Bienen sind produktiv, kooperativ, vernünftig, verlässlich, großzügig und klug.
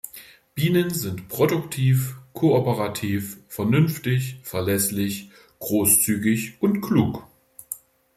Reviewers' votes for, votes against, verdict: 2, 0, accepted